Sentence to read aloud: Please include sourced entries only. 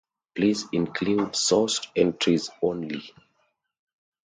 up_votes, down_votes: 2, 0